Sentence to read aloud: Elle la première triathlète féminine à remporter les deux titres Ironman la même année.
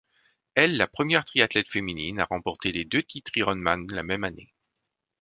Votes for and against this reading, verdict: 2, 0, accepted